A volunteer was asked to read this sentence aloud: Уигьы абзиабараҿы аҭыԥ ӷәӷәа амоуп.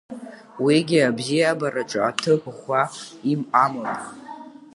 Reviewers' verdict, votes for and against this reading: rejected, 0, 2